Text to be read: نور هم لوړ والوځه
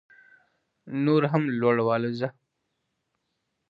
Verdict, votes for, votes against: accepted, 2, 0